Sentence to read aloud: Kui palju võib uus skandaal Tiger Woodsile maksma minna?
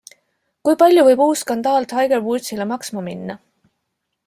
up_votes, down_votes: 2, 1